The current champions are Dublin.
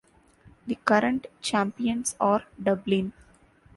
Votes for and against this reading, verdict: 2, 0, accepted